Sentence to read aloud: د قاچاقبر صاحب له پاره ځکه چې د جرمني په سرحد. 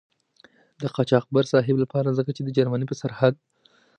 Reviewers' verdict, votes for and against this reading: accepted, 4, 0